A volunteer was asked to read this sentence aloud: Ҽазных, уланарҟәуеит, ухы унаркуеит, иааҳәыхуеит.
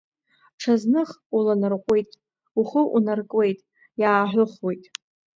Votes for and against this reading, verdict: 2, 0, accepted